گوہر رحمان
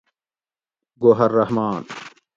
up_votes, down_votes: 2, 0